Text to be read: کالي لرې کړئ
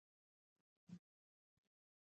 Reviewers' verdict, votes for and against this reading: rejected, 0, 2